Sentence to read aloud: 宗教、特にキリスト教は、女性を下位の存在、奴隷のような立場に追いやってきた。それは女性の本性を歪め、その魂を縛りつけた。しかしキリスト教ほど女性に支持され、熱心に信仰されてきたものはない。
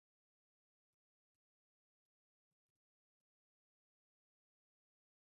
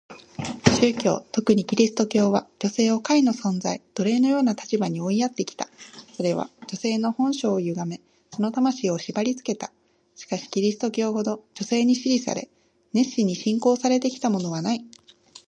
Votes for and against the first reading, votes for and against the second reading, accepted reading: 1, 2, 2, 0, second